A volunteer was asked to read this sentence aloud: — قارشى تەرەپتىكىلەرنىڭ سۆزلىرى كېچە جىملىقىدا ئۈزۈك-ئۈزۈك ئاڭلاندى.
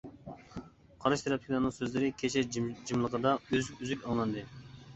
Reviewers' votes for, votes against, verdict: 0, 2, rejected